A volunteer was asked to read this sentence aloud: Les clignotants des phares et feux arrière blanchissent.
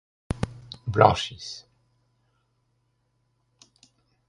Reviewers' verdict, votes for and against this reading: rejected, 0, 2